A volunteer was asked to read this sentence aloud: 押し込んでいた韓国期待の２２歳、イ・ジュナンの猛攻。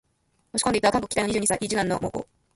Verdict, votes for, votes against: rejected, 0, 2